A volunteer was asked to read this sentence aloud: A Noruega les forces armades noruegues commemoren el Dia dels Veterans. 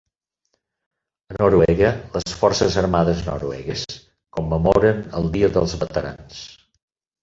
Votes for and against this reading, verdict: 2, 4, rejected